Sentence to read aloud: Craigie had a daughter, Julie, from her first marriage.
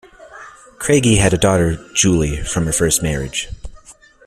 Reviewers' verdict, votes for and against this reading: accepted, 2, 1